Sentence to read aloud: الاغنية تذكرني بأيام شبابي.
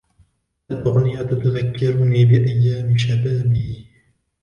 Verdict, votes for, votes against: accepted, 2, 0